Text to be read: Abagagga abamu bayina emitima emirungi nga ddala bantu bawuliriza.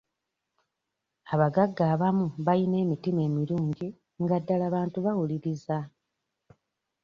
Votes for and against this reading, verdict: 2, 0, accepted